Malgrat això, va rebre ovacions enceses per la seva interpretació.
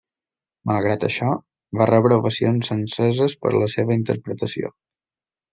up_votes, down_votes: 2, 0